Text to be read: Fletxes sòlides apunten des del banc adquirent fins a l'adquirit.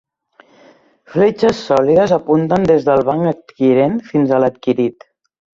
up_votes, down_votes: 3, 0